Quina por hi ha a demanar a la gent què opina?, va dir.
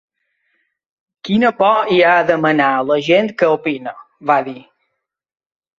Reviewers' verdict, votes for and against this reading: rejected, 0, 2